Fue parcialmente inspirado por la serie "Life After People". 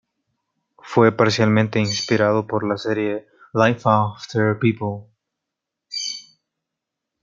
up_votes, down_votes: 0, 2